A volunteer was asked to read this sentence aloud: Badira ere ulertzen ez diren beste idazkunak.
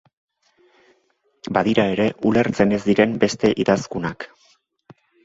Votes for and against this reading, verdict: 2, 0, accepted